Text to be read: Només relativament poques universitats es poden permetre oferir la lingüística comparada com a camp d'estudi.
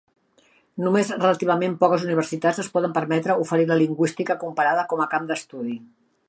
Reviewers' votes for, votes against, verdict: 3, 0, accepted